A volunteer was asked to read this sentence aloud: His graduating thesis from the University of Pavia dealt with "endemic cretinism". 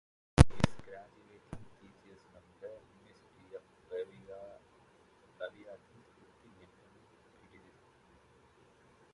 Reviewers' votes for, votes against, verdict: 0, 2, rejected